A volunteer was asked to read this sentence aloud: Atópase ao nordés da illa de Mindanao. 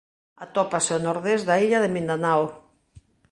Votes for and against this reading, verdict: 3, 0, accepted